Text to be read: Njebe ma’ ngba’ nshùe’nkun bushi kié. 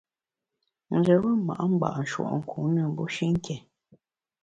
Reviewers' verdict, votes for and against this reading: rejected, 0, 2